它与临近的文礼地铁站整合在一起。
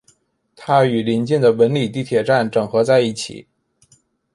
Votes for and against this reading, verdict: 2, 0, accepted